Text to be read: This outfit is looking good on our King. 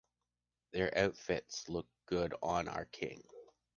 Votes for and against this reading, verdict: 0, 2, rejected